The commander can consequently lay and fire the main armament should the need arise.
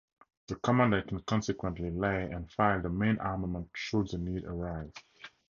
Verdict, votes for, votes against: accepted, 4, 0